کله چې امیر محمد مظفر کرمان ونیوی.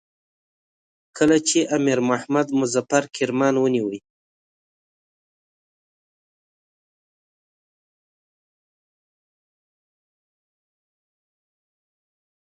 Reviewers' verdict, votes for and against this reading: rejected, 1, 2